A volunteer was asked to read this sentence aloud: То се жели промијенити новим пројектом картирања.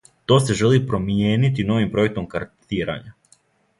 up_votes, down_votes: 2, 0